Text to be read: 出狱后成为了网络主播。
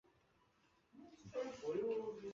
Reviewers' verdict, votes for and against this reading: rejected, 0, 2